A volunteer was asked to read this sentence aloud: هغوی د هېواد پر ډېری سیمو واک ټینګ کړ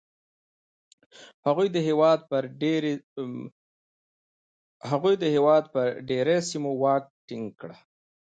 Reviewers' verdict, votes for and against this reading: rejected, 0, 2